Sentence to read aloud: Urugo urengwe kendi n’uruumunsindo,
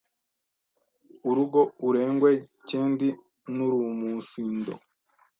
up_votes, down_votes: 1, 2